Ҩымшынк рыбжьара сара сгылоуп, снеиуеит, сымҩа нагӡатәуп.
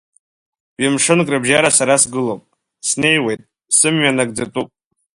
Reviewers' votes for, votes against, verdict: 2, 0, accepted